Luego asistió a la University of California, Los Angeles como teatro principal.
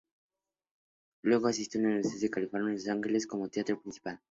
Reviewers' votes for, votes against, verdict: 2, 0, accepted